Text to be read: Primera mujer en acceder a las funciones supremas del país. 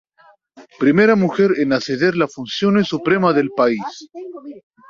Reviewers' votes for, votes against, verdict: 0, 2, rejected